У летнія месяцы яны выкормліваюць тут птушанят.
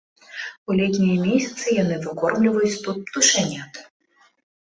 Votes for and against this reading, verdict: 2, 0, accepted